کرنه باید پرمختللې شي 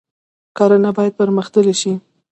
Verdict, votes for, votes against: accepted, 2, 0